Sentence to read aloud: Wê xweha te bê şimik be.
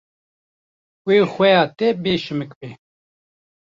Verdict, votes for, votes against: rejected, 1, 2